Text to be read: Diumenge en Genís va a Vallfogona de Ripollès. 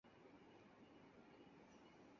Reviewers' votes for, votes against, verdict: 0, 4, rejected